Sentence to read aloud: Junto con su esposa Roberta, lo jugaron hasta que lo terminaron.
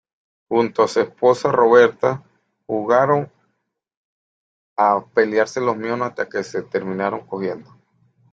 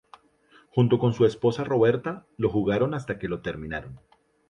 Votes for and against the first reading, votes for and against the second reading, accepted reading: 0, 2, 4, 0, second